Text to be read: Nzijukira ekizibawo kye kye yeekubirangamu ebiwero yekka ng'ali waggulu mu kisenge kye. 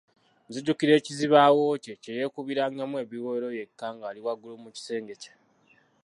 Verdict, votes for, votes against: rejected, 0, 2